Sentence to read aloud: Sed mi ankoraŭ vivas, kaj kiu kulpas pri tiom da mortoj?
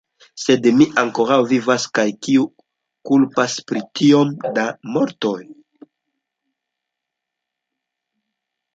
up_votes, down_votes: 0, 2